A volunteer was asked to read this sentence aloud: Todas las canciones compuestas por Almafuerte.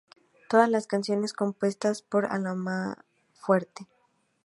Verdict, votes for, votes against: rejected, 0, 2